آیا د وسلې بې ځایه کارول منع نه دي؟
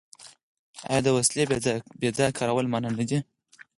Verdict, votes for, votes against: rejected, 2, 4